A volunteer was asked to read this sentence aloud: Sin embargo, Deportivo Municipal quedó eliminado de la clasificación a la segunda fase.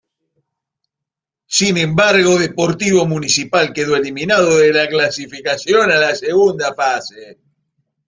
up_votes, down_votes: 1, 2